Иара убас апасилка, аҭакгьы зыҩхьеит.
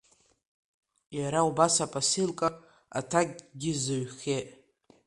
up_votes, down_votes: 2, 1